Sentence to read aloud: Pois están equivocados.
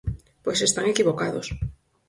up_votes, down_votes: 4, 0